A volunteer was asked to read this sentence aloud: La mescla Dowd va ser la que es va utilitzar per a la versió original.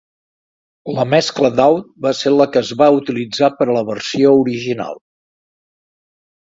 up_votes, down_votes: 3, 0